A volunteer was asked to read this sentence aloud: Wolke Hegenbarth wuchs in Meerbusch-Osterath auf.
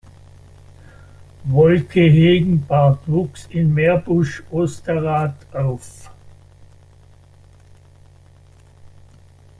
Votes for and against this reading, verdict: 0, 2, rejected